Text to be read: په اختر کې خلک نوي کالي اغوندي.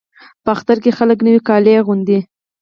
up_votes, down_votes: 4, 0